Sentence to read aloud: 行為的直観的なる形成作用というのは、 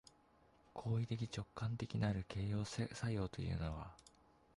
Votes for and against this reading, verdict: 1, 2, rejected